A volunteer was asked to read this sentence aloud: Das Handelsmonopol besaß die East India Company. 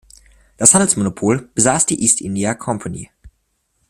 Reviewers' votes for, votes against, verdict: 2, 0, accepted